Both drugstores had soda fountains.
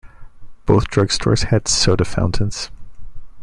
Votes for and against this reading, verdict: 2, 0, accepted